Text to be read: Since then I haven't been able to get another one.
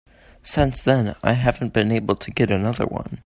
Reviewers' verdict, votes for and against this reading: accepted, 2, 0